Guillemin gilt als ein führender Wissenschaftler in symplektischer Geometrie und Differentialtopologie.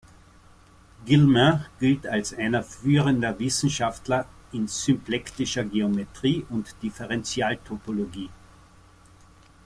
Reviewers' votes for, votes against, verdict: 1, 2, rejected